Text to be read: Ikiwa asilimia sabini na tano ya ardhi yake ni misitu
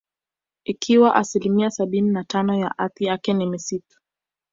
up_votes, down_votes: 1, 2